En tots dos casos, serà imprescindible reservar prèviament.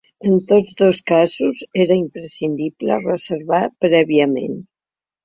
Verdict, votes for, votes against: rejected, 0, 2